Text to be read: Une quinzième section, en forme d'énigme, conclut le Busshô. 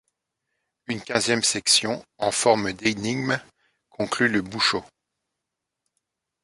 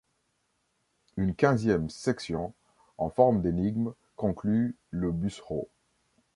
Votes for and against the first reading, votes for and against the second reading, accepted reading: 3, 0, 1, 2, first